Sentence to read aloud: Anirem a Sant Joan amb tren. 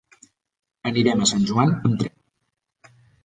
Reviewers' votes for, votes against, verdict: 1, 2, rejected